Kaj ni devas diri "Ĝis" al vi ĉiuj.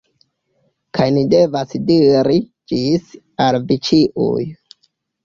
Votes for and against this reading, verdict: 2, 0, accepted